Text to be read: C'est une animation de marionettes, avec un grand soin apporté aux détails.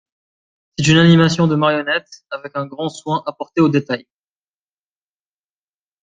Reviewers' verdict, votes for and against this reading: rejected, 0, 2